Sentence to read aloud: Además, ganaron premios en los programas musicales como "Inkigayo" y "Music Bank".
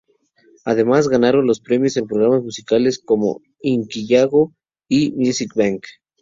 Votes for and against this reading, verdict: 0, 2, rejected